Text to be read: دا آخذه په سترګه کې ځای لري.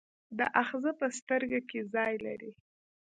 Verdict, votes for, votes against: accepted, 2, 0